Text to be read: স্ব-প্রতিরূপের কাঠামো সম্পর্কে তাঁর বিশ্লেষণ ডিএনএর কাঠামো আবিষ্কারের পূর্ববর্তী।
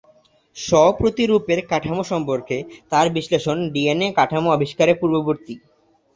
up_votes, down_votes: 2, 0